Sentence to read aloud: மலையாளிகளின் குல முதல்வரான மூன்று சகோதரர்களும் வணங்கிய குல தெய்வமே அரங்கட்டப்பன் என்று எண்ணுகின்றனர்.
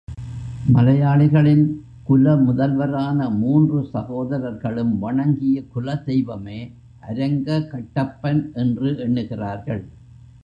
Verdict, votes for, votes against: rejected, 0, 2